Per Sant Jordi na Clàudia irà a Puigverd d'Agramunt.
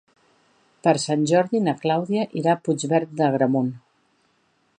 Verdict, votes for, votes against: accepted, 2, 0